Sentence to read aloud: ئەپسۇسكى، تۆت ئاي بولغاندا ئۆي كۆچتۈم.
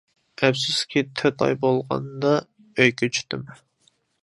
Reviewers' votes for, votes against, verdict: 0, 2, rejected